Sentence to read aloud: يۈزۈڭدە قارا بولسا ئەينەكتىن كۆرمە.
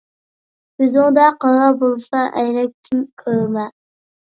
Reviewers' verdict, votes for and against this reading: rejected, 1, 2